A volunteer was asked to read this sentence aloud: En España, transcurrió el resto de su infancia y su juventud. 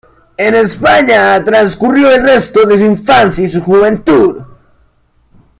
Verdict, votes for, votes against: rejected, 1, 2